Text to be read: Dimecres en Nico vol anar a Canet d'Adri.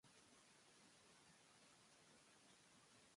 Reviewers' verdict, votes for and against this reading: rejected, 1, 2